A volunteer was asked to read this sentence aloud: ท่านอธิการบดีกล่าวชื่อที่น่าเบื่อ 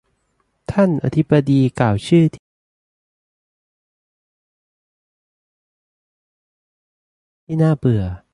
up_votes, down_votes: 0, 3